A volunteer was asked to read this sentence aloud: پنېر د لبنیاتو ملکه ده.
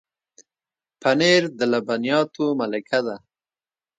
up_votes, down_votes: 2, 0